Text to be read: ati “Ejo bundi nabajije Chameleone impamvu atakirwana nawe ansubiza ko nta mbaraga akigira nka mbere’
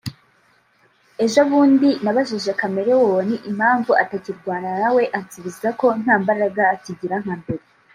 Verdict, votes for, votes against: rejected, 0, 2